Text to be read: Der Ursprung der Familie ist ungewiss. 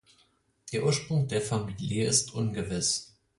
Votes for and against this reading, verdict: 4, 0, accepted